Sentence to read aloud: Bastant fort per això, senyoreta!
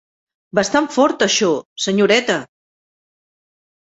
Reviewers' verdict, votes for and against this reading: rejected, 2, 3